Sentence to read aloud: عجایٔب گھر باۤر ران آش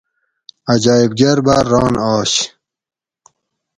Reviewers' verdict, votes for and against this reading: accepted, 4, 0